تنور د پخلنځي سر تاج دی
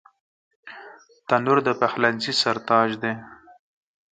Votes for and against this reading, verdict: 16, 0, accepted